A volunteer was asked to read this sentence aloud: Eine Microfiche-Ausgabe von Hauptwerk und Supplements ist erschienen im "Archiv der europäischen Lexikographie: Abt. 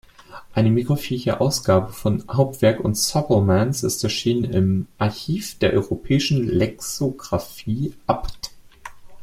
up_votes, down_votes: 1, 2